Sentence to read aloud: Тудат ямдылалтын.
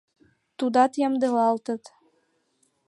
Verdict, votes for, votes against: rejected, 0, 2